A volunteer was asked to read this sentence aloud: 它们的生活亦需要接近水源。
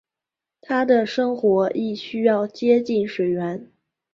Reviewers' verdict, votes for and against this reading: rejected, 1, 2